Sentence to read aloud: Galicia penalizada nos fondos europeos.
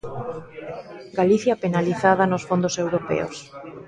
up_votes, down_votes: 1, 2